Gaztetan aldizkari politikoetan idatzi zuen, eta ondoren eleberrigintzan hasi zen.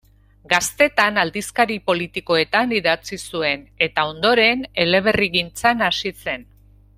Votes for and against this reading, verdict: 2, 0, accepted